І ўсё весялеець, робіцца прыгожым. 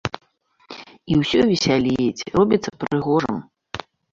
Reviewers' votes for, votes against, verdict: 1, 2, rejected